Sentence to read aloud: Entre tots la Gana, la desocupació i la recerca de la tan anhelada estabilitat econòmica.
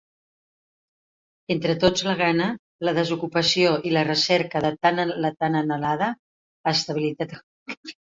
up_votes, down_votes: 0, 2